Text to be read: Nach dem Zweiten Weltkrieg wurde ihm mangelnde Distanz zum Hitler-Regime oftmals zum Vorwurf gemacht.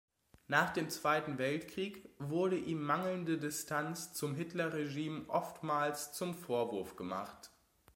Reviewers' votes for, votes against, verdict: 2, 0, accepted